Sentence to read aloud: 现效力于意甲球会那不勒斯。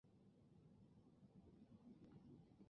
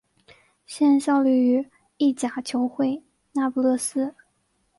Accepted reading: second